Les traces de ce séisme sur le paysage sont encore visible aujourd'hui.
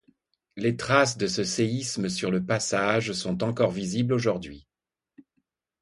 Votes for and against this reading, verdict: 1, 2, rejected